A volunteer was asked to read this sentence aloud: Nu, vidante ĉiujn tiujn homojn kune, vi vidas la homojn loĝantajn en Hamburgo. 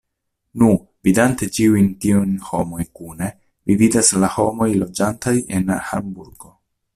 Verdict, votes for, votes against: rejected, 0, 2